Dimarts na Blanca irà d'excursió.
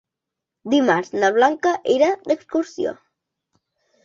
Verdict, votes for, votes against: accepted, 3, 0